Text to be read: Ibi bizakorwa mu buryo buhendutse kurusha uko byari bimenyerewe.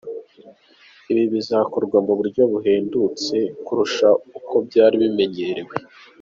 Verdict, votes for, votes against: accepted, 3, 1